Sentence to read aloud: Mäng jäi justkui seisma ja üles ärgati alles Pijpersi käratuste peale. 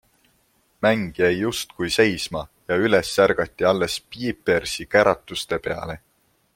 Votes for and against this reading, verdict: 2, 0, accepted